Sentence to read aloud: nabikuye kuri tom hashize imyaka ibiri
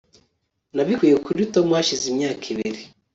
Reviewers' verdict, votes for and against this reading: accepted, 2, 0